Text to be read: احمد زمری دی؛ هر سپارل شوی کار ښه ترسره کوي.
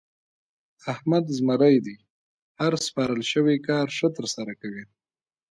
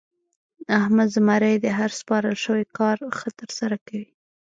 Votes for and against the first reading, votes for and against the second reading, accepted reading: 2, 1, 0, 2, first